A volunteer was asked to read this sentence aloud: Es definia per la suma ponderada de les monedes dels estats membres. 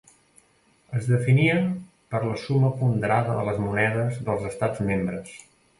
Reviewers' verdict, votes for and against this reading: rejected, 1, 2